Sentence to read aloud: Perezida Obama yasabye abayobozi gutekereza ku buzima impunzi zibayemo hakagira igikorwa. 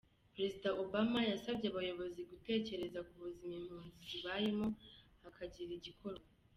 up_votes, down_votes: 2, 1